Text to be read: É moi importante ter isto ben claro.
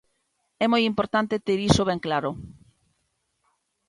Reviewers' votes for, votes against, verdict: 0, 2, rejected